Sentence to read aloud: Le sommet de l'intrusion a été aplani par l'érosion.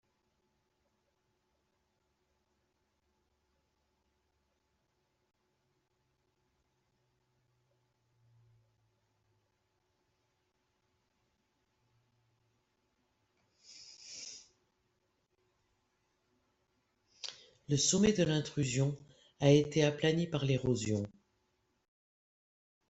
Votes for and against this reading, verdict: 0, 2, rejected